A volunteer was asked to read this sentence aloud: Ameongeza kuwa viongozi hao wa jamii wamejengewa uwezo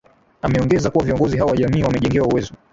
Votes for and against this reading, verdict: 0, 2, rejected